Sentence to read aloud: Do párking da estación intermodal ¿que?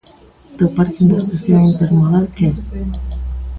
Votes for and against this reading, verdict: 1, 2, rejected